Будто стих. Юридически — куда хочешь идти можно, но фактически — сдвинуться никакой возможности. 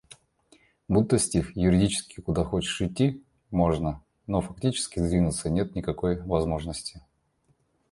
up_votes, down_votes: 2, 1